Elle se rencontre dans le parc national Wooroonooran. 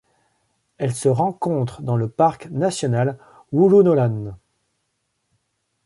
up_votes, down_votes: 2, 0